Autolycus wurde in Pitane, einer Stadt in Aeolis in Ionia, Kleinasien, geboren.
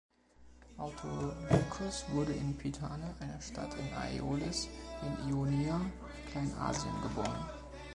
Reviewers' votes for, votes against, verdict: 2, 0, accepted